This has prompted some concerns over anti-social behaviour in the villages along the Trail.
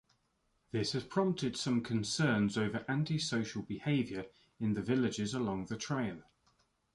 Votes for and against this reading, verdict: 2, 0, accepted